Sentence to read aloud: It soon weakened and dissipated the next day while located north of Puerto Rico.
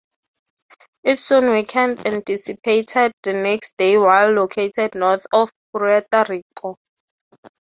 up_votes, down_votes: 3, 0